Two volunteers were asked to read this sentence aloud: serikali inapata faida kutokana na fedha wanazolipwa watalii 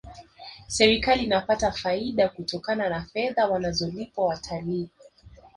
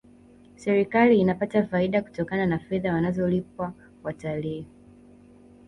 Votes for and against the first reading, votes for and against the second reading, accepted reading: 0, 2, 2, 1, second